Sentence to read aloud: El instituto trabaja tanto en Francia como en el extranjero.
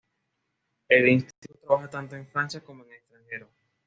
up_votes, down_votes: 1, 2